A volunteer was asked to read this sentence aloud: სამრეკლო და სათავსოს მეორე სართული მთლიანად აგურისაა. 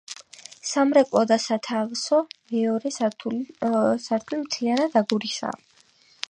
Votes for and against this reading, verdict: 4, 5, rejected